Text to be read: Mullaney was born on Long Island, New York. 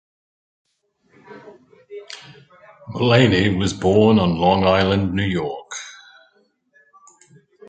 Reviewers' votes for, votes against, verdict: 2, 0, accepted